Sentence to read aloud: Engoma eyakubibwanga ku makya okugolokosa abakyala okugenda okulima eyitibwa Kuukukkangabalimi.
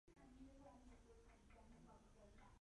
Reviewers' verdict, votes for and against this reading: rejected, 0, 2